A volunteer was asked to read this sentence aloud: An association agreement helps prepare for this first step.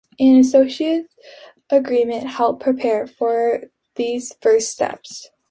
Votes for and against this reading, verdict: 2, 3, rejected